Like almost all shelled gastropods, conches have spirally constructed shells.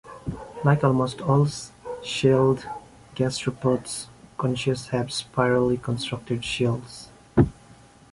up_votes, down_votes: 2, 0